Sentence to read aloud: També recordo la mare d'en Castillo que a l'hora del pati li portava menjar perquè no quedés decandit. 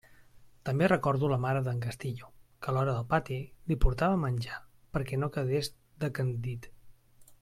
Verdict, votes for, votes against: accepted, 2, 0